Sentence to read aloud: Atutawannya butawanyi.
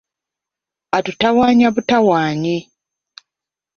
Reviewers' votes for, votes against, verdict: 2, 1, accepted